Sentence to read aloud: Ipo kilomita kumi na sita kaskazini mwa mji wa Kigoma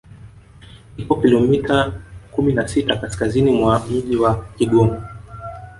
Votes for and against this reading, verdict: 2, 1, accepted